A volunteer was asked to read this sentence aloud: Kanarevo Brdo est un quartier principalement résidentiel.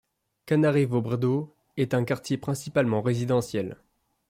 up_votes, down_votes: 2, 0